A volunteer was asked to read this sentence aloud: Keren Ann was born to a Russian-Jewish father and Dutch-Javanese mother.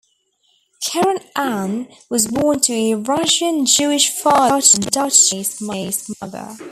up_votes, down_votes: 1, 2